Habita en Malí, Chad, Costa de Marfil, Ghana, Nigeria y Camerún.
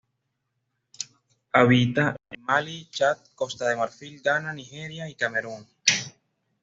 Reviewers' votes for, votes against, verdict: 2, 0, accepted